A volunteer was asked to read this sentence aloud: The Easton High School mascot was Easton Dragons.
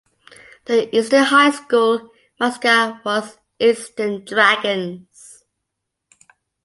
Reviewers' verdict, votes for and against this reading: accepted, 2, 1